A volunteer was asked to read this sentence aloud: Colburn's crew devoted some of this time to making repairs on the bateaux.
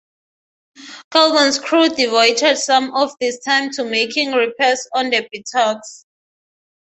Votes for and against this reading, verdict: 3, 0, accepted